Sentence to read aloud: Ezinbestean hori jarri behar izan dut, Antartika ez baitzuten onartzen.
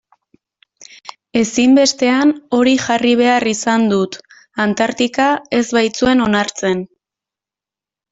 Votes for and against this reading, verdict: 1, 2, rejected